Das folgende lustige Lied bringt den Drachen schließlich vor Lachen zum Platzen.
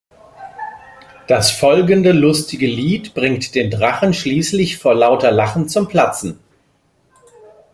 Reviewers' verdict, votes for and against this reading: rejected, 1, 2